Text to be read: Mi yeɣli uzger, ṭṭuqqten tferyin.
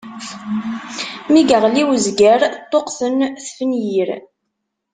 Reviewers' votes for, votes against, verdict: 1, 2, rejected